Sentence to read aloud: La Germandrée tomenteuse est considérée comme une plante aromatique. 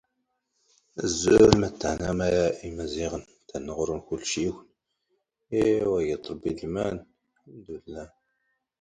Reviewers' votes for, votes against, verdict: 1, 2, rejected